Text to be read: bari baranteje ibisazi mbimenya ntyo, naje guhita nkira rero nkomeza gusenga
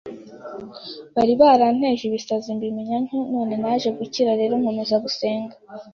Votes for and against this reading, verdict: 2, 0, accepted